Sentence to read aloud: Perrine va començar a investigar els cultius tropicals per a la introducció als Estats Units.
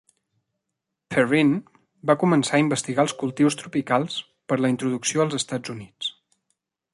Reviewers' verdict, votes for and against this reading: accepted, 2, 1